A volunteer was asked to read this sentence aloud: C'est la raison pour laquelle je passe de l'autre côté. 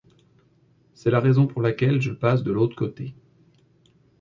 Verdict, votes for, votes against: accepted, 2, 0